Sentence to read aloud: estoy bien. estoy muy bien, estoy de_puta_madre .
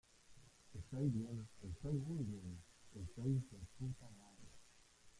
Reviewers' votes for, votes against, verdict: 0, 2, rejected